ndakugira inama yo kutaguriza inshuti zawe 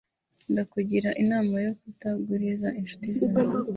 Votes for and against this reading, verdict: 2, 0, accepted